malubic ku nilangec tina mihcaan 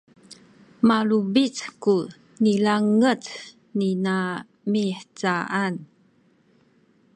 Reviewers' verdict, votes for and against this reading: rejected, 1, 2